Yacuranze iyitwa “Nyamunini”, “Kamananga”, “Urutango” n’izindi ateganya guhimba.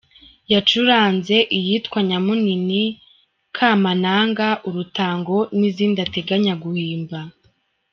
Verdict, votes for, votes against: accepted, 2, 0